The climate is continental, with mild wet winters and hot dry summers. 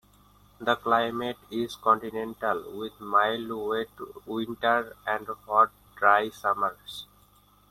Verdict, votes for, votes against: accepted, 2, 1